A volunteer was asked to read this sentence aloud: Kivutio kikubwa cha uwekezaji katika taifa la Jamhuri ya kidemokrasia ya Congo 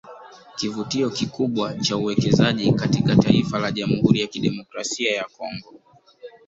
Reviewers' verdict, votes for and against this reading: rejected, 0, 2